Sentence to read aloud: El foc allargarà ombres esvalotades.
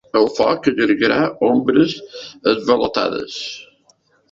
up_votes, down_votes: 3, 0